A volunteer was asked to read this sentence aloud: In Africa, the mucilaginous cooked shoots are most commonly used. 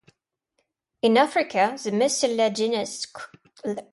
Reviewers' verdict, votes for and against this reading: rejected, 0, 2